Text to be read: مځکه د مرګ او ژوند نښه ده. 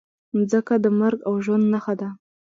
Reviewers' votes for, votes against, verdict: 0, 2, rejected